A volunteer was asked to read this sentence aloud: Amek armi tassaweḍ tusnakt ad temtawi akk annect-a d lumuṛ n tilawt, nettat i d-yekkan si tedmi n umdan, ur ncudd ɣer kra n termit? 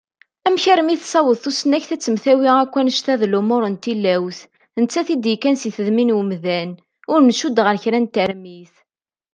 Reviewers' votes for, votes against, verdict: 2, 0, accepted